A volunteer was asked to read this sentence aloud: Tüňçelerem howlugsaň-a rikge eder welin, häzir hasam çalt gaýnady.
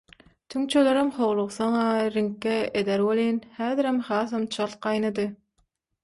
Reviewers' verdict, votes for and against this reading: rejected, 0, 3